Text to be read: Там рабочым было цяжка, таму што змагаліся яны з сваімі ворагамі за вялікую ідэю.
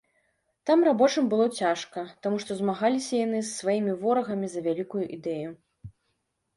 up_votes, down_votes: 2, 0